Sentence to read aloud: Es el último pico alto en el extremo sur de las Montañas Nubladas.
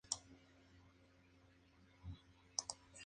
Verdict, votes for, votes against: rejected, 0, 2